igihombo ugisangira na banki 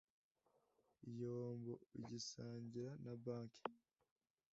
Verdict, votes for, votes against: accepted, 2, 0